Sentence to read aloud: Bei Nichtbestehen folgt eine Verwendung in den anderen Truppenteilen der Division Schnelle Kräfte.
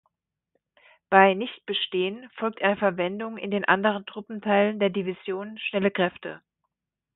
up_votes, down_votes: 1, 2